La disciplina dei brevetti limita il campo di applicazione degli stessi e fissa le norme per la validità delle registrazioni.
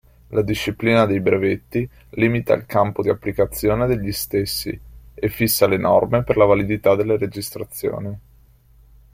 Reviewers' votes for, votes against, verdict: 2, 0, accepted